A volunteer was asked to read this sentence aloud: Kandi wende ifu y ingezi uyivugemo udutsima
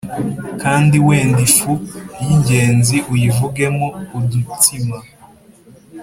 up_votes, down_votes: 2, 1